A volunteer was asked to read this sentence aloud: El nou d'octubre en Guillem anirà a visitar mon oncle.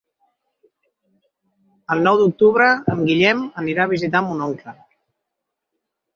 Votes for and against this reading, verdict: 3, 0, accepted